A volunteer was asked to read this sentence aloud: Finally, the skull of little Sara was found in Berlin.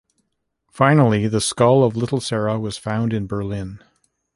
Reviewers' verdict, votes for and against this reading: accepted, 2, 1